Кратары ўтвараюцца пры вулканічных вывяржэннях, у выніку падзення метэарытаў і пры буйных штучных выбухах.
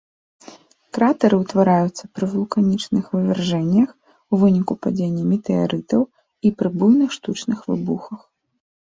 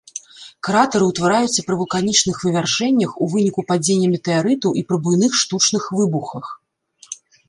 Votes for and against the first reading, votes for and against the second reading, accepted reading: 2, 1, 1, 2, first